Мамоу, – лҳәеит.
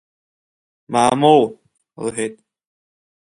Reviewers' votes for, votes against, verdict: 2, 0, accepted